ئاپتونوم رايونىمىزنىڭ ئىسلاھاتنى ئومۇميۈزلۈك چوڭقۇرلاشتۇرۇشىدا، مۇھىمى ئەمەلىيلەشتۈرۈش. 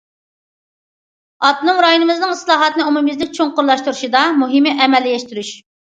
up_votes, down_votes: 2, 0